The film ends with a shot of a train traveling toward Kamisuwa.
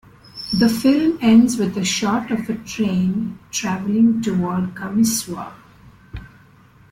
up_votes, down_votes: 2, 0